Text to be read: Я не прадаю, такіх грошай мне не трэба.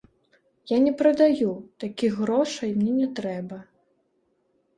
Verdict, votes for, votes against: rejected, 0, 2